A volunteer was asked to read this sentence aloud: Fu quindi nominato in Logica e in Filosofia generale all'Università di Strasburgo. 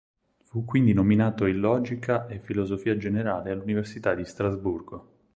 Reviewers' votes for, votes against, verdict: 2, 4, rejected